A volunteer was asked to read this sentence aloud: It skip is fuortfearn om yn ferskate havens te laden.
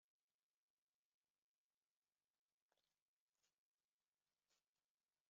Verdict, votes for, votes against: rejected, 0, 2